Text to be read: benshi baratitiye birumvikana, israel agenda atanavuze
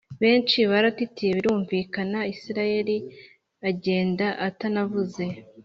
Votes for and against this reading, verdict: 2, 0, accepted